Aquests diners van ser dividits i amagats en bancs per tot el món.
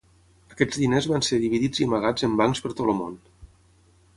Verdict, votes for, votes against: rejected, 3, 3